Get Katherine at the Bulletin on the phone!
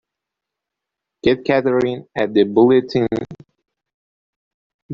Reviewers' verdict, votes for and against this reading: rejected, 0, 2